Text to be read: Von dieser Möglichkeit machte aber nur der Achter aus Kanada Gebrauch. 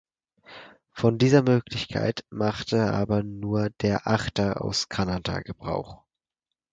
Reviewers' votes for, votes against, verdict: 4, 0, accepted